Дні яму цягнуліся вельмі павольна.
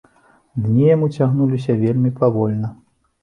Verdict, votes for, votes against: accepted, 2, 0